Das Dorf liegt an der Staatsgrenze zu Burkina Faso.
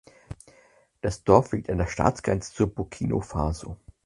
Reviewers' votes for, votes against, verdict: 0, 4, rejected